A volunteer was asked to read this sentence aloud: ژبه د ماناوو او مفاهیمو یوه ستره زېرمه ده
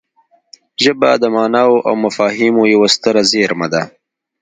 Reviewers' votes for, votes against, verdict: 2, 0, accepted